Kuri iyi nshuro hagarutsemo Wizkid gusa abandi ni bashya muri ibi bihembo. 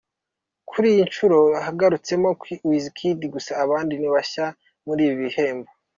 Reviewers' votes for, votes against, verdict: 0, 3, rejected